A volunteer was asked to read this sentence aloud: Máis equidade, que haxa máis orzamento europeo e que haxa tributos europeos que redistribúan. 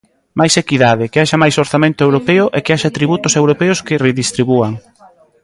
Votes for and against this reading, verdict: 1, 2, rejected